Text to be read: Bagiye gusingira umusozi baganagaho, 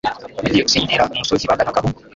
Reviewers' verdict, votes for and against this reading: rejected, 1, 2